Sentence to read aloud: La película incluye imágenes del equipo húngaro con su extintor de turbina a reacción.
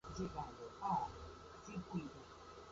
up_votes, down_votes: 2, 4